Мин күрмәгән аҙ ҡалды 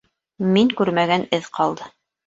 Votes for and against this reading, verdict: 0, 2, rejected